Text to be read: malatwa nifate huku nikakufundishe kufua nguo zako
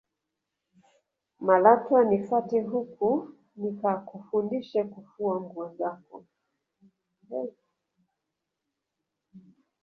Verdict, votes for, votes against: rejected, 0, 2